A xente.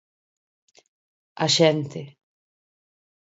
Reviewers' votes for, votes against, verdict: 4, 0, accepted